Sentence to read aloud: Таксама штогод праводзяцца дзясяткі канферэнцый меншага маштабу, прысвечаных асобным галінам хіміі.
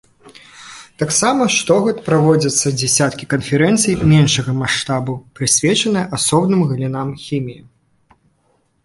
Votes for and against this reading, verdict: 0, 2, rejected